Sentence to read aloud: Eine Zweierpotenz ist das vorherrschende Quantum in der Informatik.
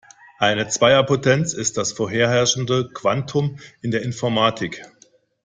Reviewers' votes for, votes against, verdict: 1, 3, rejected